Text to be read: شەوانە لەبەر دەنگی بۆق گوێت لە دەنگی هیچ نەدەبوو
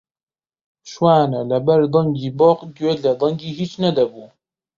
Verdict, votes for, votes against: rejected, 0, 2